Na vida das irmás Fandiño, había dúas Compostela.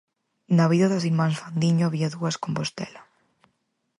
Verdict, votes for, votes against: accepted, 4, 0